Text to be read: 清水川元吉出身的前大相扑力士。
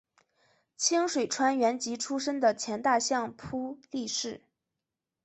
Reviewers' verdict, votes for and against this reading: accepted, 5, 0